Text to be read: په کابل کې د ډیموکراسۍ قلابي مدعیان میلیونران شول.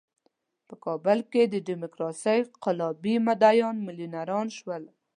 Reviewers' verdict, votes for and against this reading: accepted, 2, 0